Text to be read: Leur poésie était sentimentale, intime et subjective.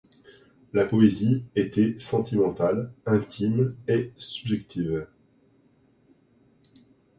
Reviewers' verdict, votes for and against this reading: rejected, 1, 2